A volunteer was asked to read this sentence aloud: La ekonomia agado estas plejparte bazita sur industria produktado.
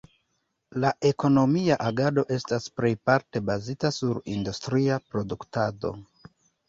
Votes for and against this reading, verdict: 2, 1, accepted